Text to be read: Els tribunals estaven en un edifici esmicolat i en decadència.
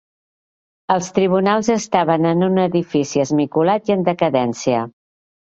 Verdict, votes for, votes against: accepted, 3, 0